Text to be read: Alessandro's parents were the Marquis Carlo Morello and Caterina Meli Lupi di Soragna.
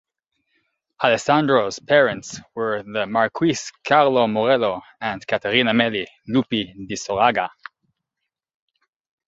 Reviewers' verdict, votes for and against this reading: rejected, 0, 2